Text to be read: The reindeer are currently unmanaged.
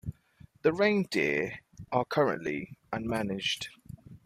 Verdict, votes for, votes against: accepted, 2, 0